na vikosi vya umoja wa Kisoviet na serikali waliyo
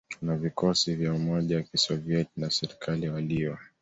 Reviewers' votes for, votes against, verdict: 2, 0, accepted